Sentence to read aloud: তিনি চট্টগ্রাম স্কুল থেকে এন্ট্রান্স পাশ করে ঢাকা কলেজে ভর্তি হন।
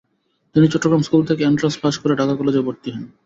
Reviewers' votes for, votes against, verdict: 0, 2, rejected